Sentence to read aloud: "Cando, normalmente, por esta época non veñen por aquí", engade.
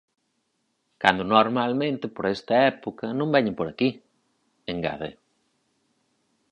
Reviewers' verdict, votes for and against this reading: accepted, 6, 0